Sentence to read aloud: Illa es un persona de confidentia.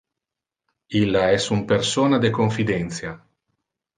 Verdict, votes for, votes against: accepted, 2, 0